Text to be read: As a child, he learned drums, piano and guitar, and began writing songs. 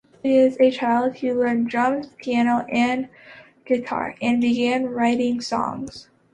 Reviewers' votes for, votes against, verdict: 1, 2, rejected